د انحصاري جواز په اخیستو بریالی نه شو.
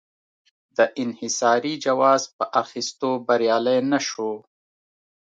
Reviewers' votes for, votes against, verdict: 2, 0, accepted